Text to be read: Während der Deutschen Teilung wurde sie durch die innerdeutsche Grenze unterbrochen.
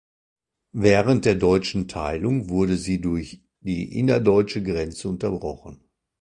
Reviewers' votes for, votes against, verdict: 2, 0, accepted